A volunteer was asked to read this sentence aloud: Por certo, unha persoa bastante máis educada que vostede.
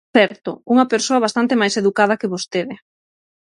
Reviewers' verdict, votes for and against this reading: rejected, 0, 6